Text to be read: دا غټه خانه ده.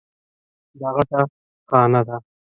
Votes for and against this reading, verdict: 0, 2, rejected